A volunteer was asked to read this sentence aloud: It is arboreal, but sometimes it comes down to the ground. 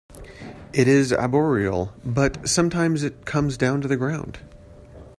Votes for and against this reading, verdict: 2, 1, accepted